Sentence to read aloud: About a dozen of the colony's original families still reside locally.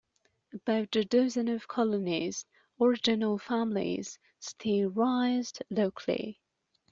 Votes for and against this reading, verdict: 0, 2, rejected